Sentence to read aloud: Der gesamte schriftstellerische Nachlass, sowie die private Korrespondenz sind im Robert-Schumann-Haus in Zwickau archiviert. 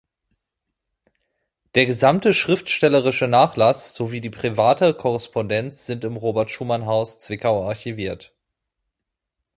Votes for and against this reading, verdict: 1, 2, rejected